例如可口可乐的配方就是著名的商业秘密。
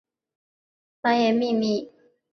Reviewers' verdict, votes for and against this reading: rejected, 0, 3